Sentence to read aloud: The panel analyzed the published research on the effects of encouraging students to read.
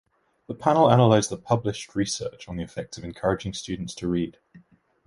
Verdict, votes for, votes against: accepted, 2, 0